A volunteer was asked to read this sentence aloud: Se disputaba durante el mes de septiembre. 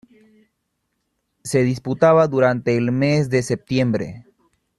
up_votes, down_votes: 2, 0